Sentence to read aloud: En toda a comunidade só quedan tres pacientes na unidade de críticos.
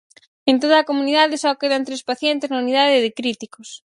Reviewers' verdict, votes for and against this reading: accepted, 4, 0